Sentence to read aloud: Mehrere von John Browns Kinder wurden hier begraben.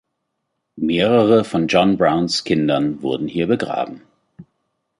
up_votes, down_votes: 1, 2